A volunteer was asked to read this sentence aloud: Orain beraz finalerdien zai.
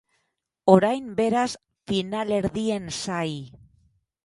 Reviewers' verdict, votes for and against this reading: accepted, 8, 0